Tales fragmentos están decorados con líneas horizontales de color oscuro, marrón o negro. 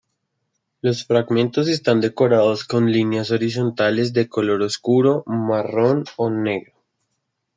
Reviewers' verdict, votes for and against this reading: rejected, 0, 2